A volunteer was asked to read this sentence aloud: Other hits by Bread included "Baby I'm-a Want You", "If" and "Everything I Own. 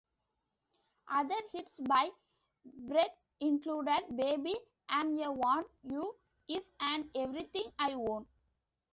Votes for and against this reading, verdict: 0, 2, rejected